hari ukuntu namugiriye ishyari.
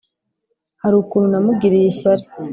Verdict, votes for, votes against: accepted, 3, 0